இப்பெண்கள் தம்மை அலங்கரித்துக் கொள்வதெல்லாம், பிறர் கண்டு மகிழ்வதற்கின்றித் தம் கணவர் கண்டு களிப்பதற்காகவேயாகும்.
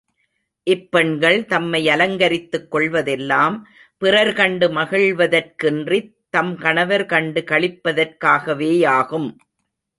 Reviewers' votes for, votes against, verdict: 1, 2, rejected